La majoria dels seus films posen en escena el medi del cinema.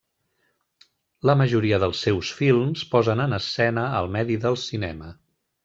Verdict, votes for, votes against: accepted, 2, 0